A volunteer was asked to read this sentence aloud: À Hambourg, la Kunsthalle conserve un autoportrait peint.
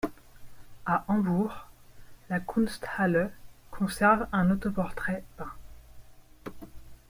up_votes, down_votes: 1, 2